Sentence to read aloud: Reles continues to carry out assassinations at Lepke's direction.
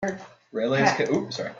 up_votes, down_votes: 0, 2